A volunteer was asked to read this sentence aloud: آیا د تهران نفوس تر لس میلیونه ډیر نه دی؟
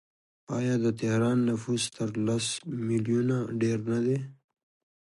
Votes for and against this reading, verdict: 2, 1, accepted